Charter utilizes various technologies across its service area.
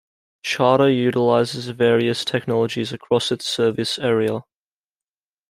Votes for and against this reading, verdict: 2, 0, accepted